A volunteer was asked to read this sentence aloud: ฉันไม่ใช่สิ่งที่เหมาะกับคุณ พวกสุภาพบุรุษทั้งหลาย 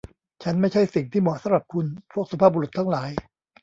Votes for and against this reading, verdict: 1, 2, rejected